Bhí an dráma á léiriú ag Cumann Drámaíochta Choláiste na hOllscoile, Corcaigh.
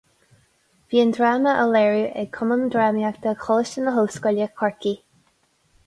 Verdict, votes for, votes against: accepted, 4, 0